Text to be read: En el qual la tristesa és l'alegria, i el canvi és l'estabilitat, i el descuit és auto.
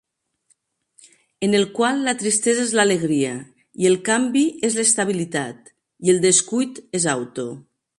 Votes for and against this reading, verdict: 3, 0, accepted